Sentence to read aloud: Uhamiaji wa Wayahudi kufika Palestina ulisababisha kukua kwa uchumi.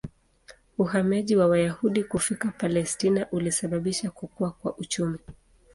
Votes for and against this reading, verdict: 2, 0, accepted